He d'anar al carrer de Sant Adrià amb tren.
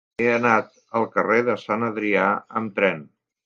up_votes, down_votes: 0, 2